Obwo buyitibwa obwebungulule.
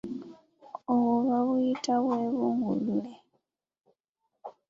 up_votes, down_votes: 1, 3